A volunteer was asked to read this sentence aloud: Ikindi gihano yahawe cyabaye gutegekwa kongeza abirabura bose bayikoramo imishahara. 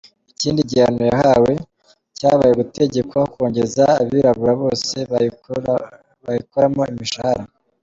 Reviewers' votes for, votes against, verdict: 0, 2, rejected